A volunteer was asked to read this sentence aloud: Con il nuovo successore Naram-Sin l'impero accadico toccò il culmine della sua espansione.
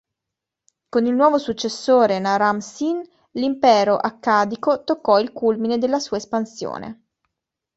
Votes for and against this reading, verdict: 2, 0, accepted